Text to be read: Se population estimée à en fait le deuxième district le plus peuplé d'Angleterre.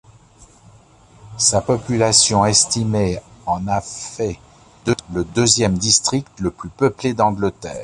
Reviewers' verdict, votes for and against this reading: rejected, 0, 2